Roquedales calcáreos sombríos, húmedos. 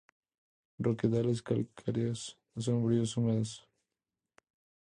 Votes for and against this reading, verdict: 4, 0, accepted